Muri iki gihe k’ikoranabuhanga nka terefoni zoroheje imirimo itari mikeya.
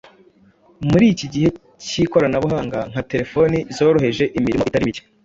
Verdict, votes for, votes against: rejected, 0, 2